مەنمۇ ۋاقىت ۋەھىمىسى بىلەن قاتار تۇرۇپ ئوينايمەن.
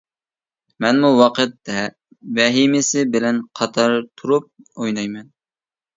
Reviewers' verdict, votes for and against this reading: rejected, 0, 2